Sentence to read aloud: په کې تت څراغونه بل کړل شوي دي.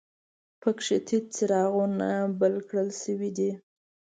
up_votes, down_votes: 2, 0